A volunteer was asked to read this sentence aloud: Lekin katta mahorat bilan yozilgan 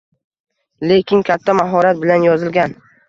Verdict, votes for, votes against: accepted, 2, 0